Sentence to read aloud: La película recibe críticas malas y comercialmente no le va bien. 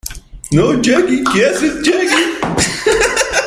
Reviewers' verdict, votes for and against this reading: rejected, 0, 2